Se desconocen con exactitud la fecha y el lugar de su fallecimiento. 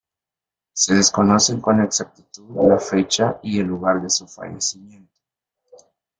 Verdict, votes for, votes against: rejected, 2, 3